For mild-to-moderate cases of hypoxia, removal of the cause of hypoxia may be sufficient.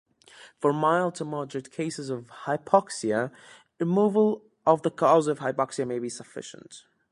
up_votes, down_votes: 2, 0